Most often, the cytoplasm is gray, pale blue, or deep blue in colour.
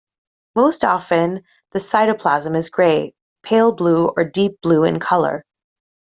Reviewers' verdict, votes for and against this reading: accepted, 2, 0